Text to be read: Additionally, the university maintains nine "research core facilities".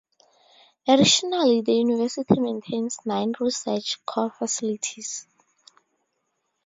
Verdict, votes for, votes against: accepted, 2, 0